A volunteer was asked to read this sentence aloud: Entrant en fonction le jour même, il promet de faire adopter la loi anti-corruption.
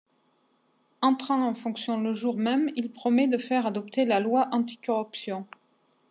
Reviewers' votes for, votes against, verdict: 2, 0, accepted